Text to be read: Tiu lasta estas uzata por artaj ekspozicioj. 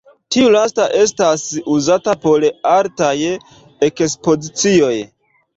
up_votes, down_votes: 2, 0